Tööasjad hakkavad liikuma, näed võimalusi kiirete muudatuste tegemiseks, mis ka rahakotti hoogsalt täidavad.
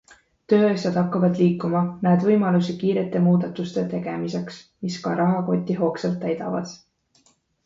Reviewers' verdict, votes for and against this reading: accepted, 2, 0